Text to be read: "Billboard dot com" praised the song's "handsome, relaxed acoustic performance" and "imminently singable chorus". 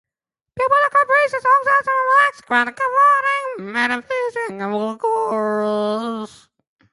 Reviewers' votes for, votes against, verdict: 0, 2, rejected